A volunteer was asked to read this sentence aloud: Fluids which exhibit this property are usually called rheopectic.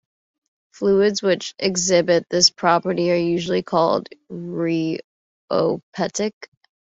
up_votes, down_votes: 1, 2